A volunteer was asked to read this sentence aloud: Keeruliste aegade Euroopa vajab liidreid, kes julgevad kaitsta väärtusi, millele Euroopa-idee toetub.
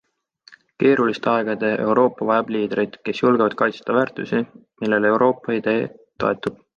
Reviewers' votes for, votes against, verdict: 2, 0, accepted